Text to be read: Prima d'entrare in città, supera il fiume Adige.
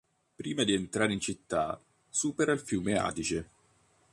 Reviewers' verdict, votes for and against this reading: rejected, 1, 2